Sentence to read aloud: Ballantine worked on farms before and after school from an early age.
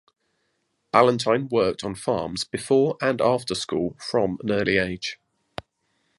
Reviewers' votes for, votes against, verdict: 2, 0, accepted